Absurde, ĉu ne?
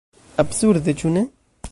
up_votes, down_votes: 1, 2